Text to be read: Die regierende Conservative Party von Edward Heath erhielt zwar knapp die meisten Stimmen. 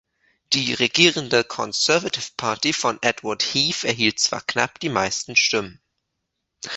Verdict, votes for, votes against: accepted, 3, 0